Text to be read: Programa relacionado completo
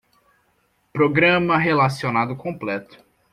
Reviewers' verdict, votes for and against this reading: accepted, 2, 0